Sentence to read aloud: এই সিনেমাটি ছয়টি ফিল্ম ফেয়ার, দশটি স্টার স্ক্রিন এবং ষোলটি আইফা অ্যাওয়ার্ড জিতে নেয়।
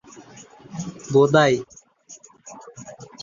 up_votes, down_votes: 0, 3